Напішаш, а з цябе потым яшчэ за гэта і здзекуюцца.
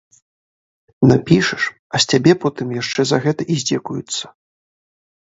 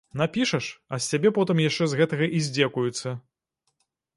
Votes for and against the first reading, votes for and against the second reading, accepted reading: 3, 0, 1, 2, first